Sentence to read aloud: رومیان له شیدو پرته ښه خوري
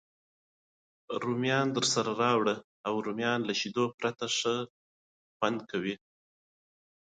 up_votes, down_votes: 1, 2